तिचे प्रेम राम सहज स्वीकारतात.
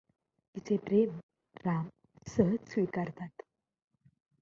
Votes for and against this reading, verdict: 2, 0, accepted